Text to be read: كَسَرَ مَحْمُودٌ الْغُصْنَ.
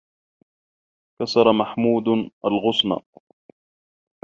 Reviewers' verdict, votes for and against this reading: accepted, 2, 0